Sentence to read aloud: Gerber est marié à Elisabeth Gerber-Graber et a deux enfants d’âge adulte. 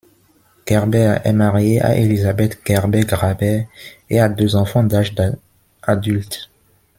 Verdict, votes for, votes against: rejected, 0, 2